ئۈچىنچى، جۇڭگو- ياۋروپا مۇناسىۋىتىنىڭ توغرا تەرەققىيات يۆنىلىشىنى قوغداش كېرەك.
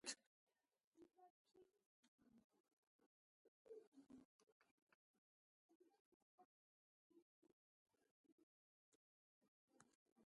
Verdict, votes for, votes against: rejected, 0, 2